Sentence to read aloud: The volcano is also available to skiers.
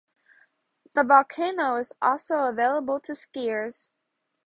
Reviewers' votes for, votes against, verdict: 2, 0, accepted